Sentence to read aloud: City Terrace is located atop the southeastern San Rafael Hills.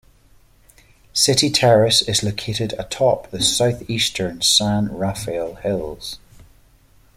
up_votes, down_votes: 2, 0